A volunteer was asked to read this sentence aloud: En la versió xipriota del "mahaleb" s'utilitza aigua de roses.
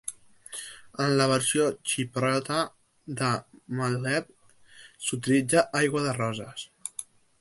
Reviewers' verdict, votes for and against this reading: rejected, 0, 2